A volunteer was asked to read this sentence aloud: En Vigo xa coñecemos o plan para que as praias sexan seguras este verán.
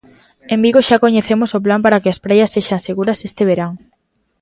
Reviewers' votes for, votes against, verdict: 3, 0, accepted